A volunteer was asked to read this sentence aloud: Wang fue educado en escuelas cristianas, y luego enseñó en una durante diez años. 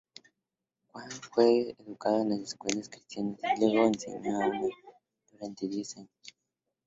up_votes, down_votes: 0, 2